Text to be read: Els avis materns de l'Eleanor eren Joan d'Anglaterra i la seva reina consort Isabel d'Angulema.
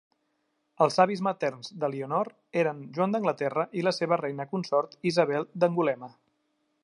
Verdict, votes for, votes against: accepted, 2, 0